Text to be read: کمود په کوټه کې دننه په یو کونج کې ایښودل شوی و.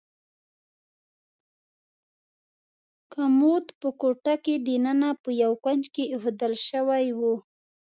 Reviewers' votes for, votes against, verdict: 2, 0, accepted